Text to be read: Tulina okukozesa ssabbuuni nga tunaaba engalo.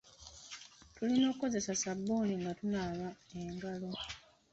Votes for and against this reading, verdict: 0, 2, rejected